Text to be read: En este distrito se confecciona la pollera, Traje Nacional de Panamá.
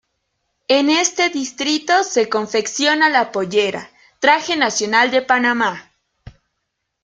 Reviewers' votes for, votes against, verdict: 2, 0, accepted